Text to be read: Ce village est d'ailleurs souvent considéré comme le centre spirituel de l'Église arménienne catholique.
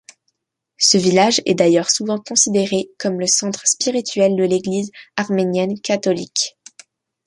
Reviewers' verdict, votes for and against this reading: accepted, 2, 0